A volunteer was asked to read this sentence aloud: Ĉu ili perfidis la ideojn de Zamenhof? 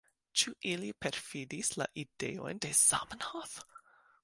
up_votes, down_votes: 2, 0